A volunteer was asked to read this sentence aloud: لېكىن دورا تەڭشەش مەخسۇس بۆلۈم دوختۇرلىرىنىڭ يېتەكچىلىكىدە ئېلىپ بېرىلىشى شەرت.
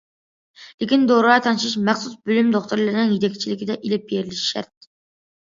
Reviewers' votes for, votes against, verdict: 2, 0, accepted